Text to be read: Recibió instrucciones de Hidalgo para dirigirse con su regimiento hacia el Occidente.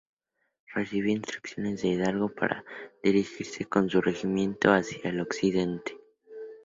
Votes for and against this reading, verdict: 0, 4, rejected